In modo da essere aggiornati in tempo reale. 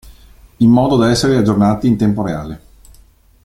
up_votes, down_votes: 2, 0